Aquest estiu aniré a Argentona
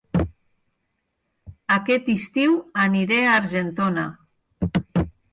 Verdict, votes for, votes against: accepted, 4, 0